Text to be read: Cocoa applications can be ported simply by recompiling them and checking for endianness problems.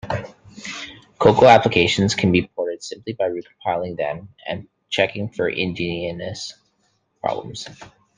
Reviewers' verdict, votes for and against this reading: rejected, 1, 2